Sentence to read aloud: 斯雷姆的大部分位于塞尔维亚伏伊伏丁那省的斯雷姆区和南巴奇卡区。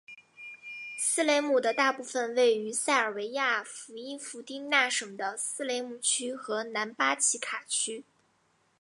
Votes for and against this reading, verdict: 6, 0, accepted